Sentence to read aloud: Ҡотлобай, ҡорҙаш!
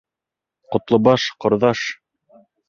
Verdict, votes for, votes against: rejected, 1, 3